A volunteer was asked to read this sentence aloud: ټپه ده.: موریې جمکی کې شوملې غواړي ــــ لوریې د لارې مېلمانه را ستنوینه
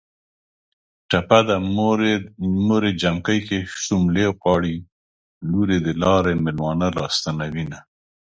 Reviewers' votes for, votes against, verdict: 2, 0, accepted